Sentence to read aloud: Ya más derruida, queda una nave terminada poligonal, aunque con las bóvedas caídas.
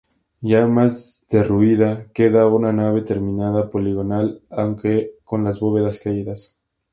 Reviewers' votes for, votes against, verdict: 2, 0, accepted